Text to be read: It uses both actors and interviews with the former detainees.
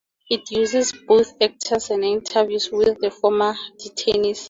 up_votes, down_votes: 4, 0